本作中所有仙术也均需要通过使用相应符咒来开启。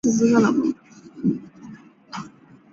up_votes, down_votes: 0, 2